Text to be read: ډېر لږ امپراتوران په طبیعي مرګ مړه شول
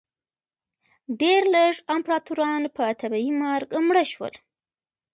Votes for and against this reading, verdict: 0, 2, rejected